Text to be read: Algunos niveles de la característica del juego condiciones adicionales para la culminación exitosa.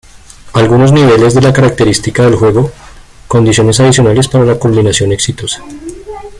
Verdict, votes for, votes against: rejected, 1, 2